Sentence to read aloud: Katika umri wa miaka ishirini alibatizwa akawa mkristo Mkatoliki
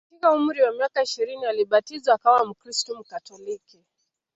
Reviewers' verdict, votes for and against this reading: accepted, 2, 1